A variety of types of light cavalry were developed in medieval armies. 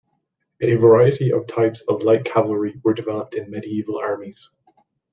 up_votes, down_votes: 2, 0